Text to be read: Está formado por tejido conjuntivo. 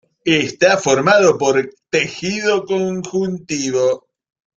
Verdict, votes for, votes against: rejected, 0, 2